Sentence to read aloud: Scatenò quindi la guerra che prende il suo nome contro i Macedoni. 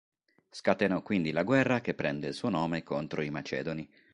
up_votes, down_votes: 2, 0